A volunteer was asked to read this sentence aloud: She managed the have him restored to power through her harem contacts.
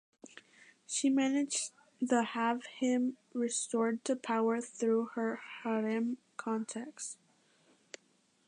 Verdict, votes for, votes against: accepted, 2, 1